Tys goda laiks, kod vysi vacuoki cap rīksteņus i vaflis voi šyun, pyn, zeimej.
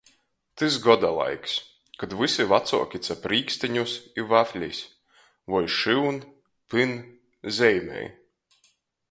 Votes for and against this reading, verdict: 2, 0, accepted